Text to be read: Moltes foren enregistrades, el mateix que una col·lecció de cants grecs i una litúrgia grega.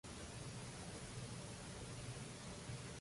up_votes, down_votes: 1, 2